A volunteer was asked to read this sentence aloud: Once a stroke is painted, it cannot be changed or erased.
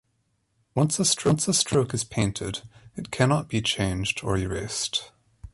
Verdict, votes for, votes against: rejected, 1, 2